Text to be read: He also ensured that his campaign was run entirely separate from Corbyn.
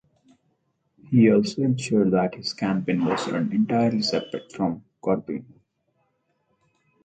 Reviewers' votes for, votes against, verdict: 4, 0, accepted